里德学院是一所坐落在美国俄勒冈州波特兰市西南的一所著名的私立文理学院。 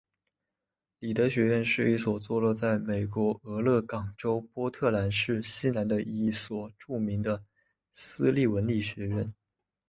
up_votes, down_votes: 2, 0